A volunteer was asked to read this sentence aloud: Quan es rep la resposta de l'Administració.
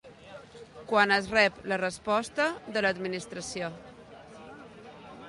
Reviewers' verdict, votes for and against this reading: accepted, 2, 1